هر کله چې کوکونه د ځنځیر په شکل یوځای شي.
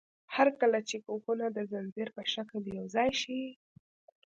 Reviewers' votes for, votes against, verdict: 2, 0, accepted